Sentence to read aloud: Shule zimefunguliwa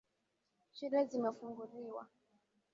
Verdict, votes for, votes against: accepted, 2, 1